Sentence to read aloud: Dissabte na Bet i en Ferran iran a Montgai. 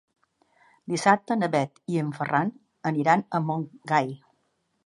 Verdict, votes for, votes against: rejected, 0, 2